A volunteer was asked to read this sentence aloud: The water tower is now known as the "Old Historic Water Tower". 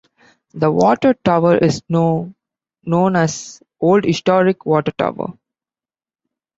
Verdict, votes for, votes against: rejected, 1, 2